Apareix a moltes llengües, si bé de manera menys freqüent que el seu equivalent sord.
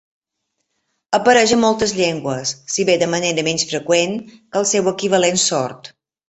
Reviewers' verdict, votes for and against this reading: accepted, 3, 1